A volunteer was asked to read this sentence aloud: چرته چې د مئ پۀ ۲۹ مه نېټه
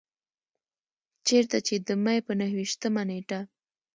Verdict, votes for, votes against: rejected, 0, 2